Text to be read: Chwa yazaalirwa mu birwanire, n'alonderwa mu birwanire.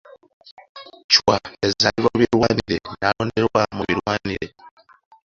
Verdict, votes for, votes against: rejected, 0, 2